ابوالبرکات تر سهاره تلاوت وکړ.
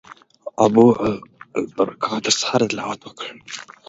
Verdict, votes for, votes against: accepted, 3, 0